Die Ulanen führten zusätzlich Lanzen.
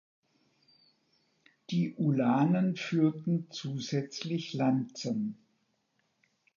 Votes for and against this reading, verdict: 2, 0, accepted